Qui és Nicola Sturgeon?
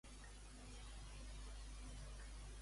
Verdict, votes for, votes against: rejected, 0, 2